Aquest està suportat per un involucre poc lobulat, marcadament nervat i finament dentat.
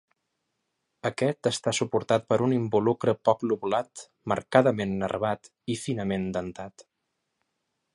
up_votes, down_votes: 3, 0